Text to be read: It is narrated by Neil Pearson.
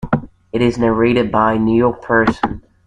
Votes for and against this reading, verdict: 0, 2, rejected